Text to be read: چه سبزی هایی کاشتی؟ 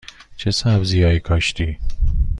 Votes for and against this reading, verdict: 2, 0, accepted